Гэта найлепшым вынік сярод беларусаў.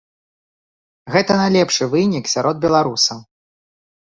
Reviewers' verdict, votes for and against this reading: rejected, 0, 2